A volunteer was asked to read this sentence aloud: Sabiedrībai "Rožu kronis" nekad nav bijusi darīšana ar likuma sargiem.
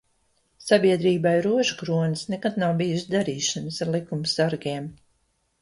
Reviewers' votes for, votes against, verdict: 1, 2, rejected